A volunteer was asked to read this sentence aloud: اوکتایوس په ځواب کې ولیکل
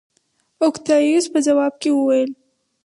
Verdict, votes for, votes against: rejected, 0, 4